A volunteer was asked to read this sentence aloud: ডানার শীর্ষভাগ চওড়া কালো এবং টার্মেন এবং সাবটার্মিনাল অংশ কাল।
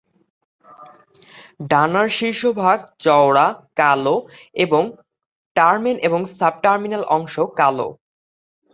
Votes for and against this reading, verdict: 4, 0, accepted